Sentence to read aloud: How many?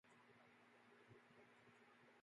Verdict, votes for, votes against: rejected, 0, 2